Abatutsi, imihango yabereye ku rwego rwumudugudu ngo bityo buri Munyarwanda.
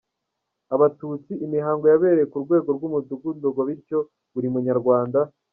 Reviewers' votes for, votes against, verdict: 2, 0, accepted